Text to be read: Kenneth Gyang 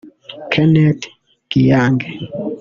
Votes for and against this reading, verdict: 0, 2, rejected